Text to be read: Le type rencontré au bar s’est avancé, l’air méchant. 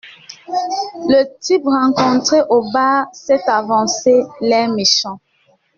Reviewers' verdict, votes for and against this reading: rejected, 0, 2